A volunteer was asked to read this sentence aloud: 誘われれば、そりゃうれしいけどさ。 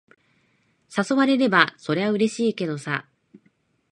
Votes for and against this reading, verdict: 2, 0, accepted